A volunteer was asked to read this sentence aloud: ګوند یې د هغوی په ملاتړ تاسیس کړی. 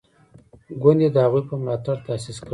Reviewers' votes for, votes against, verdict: 2, 0, accepted